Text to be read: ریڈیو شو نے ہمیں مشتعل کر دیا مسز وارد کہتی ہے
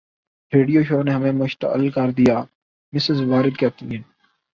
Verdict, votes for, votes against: accepted, 12, 1